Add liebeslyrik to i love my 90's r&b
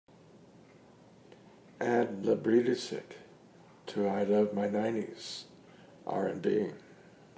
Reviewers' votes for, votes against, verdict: 0, 2, rejected